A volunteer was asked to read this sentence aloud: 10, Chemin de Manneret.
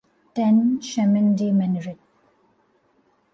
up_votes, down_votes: 0, 2